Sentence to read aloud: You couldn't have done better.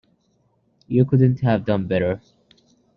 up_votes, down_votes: 2, 1